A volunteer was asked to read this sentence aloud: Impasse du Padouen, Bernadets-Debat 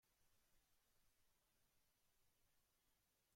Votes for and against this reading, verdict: 0, 2, rejected